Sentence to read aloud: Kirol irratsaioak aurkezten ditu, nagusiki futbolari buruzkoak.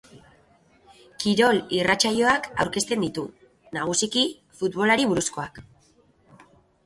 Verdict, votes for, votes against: accepted, 2, 1